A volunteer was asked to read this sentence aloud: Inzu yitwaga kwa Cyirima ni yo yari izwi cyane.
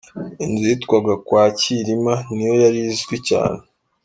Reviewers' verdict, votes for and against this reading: accepted, 2, 0